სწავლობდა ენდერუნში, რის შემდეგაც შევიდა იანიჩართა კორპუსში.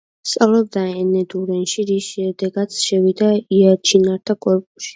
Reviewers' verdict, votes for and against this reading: rejected, 0, 2